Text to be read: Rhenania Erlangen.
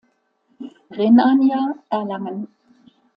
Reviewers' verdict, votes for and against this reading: accepted, 2, 0